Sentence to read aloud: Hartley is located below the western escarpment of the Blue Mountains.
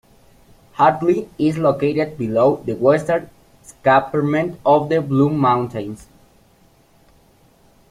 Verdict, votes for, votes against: rejected, 1, 2